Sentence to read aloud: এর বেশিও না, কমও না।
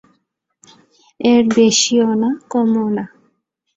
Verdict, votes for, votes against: accepted, 2, 0